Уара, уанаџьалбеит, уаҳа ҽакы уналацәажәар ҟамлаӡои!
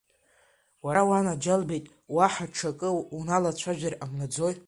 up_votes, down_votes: 2, 0